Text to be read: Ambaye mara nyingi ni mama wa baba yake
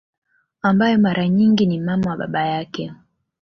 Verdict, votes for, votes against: accepted, 2, 0